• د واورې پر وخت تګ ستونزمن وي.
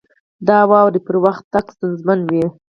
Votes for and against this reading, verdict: 2, 4, rejected